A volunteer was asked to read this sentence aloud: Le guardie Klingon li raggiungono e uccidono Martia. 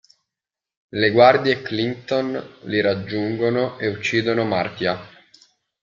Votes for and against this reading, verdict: 0, 2, rejected